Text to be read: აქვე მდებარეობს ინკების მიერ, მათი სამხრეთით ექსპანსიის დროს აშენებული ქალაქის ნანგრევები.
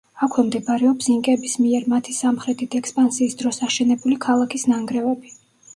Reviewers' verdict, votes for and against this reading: rejected, 1, 2